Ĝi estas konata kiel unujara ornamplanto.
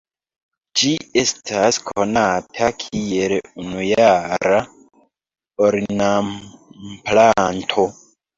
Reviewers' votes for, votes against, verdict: 0, 2, rejected